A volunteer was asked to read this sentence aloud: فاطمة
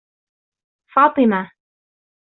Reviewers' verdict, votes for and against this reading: accepted, 2, 1